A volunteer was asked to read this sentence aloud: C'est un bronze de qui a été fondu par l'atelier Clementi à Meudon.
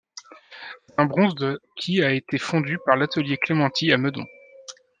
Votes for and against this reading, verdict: 1, 2, rejected